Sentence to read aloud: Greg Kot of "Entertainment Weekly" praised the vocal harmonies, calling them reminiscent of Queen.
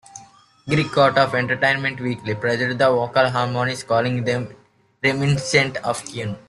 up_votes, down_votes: 1, 2